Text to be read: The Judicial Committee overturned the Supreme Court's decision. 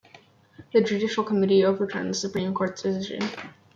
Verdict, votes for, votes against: rejected, 1, 2